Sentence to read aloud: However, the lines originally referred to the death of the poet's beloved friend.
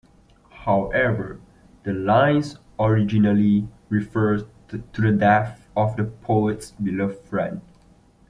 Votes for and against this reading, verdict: 3, 1, accepted